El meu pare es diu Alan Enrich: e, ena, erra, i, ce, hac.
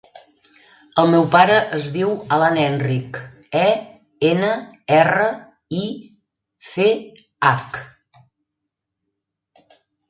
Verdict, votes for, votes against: rejected, 2, 3